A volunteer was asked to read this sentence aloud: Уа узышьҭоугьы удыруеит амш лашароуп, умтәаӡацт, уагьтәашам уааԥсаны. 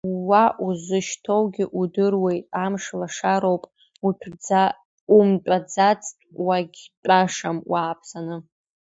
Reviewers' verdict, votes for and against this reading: rejected, 1, 2